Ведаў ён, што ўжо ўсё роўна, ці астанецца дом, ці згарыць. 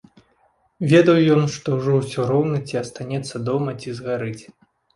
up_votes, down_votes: 1, 2